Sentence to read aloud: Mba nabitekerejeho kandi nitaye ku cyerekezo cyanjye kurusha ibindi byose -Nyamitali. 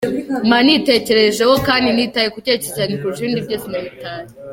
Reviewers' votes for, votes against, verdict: 2, 1, accepted